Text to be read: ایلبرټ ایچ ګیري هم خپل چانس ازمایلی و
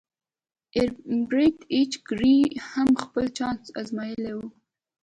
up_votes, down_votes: 3, 0